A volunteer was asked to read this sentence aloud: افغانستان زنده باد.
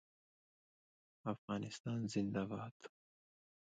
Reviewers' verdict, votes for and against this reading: rejected, 1, 2